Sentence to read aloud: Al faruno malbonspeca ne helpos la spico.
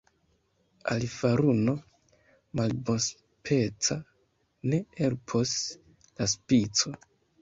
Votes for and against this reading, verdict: 0, 2, rejected